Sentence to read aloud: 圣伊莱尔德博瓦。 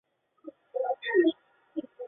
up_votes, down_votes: 1, 2